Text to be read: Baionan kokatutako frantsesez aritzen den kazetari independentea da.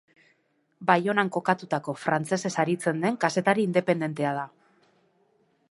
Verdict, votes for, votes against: accepted, 2, 0